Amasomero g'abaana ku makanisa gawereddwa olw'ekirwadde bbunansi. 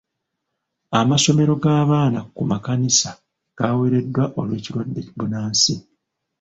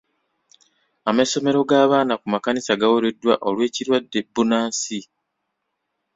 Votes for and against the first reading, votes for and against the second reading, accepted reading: 1, 2, 2, 0, second